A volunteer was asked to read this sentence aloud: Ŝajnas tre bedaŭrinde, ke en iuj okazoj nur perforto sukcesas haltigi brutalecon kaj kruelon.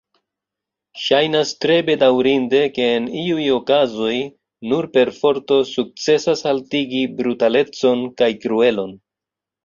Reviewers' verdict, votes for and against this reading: rejected, 1, 2